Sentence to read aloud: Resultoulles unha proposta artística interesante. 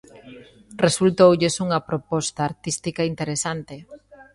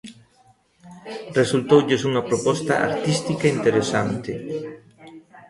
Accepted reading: second